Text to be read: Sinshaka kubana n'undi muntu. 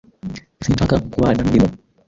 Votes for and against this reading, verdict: 1, 2, rejected